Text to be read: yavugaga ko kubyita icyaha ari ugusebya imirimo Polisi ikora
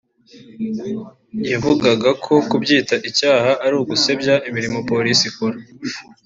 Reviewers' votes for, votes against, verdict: 2, 0, accepted